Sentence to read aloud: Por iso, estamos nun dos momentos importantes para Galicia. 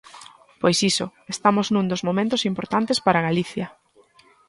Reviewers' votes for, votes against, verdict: 1, 2, rejected